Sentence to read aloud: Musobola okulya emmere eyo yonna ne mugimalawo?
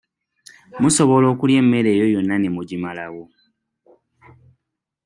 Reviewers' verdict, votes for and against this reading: accepted, 2, 1